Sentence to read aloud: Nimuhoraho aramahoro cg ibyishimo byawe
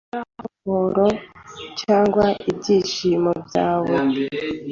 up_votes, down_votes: 0, 2